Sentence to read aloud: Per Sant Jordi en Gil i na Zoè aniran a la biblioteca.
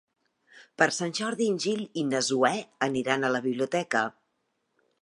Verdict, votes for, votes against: accepted, 2, 0